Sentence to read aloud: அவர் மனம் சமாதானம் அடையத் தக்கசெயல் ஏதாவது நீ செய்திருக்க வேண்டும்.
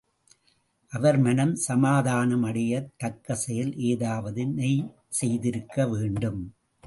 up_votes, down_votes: 2, 0